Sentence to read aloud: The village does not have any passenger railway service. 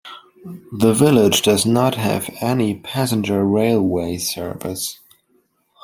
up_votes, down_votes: 3, 0